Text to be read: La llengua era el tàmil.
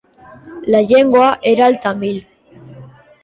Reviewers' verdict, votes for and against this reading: rejected, 1, 3